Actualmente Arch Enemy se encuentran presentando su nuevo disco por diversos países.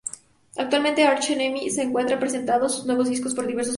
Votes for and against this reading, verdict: 0, 2, rejected